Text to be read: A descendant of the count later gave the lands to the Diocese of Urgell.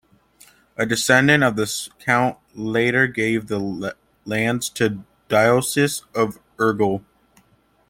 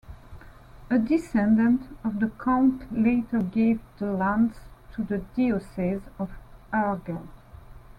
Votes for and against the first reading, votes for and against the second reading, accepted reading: 1, 2, 3, 1, second